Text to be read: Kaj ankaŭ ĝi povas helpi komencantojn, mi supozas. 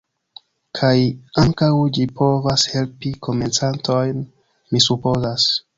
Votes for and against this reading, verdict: 1, 2, rejected